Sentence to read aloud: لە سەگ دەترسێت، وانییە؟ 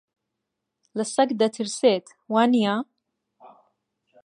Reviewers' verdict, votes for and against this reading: accepted, 2, 0